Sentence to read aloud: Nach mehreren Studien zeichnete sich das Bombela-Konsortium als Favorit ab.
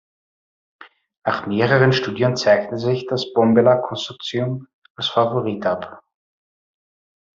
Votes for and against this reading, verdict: 1, 2, rejected